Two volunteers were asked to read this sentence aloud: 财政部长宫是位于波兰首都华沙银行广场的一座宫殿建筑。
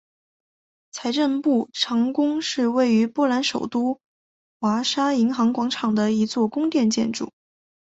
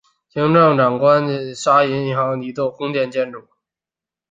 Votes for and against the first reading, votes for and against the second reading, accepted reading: 2, 1, 0, 4, first